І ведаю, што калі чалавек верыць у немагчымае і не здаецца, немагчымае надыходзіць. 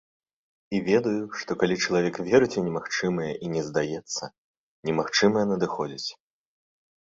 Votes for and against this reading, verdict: 2, 0, accepted